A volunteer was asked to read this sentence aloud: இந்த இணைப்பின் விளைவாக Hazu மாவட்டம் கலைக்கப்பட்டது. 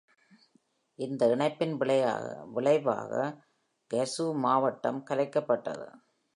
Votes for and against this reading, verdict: 0, 2, rejected